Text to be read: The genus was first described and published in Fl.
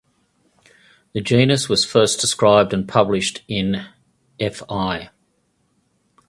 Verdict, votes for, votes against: rejected, 2, 2